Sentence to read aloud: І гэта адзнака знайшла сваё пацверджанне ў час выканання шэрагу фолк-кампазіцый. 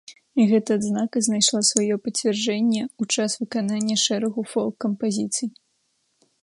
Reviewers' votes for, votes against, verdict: 1, 2, rejected